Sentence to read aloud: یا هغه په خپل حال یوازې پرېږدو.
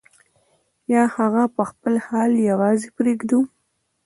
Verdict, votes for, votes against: rejected, 0, 2